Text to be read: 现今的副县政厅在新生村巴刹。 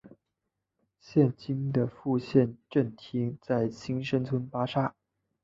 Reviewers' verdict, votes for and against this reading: accepted, 2, 0